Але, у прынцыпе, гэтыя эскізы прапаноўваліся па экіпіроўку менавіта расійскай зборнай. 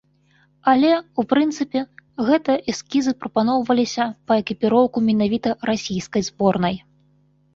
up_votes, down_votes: 1, 2